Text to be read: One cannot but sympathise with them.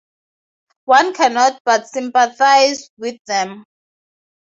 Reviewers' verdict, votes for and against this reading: accepted, 2, 0